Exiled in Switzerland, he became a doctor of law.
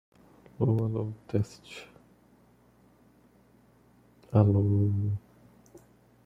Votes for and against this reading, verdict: 1, 2, rejected